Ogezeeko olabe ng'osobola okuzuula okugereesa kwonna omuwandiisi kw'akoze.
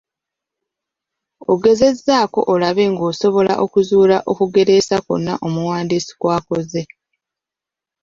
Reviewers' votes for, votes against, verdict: 0, 2, rejected